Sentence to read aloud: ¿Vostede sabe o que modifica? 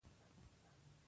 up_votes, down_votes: 0, 2